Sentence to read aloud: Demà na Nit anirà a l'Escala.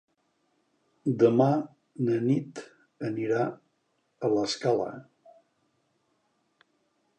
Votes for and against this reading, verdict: 3, 0, accepted